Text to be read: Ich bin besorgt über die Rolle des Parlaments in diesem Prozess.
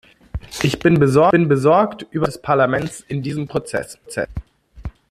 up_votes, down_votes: 0, 2